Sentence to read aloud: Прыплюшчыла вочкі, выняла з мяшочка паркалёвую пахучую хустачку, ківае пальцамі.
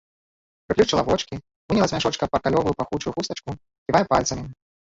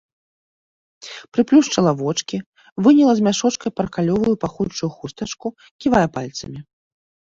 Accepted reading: second